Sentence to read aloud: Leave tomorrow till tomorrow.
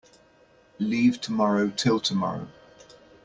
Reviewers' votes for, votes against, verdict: 2, 0, accepted